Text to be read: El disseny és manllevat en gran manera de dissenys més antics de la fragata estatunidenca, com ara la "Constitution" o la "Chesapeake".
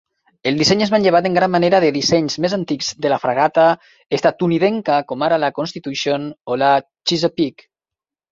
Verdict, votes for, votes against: accepted, 3, 1